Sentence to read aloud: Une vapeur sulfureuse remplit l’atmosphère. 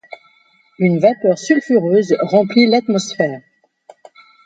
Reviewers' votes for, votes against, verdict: 2, 0, accepted